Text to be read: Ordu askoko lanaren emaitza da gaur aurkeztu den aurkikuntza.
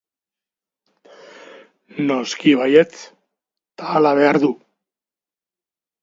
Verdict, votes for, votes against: rejected, 0, 3